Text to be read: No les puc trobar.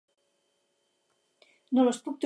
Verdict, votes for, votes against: rejected, 0, 4